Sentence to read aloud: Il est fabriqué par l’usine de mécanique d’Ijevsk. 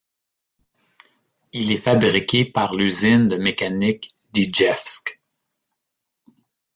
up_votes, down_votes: 2, 0